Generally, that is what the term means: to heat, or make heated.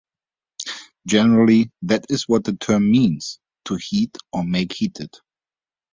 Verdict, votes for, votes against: accepted, 2, 0